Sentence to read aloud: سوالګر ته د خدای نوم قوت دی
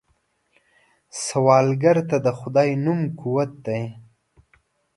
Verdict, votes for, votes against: accepted, 2, 0